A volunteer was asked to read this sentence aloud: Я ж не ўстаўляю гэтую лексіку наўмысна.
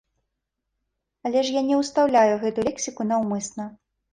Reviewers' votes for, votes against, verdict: 0, 2, rejected